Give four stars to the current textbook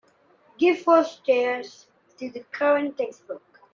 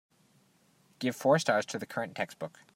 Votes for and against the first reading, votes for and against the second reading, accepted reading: 1, 2, 2, 0, second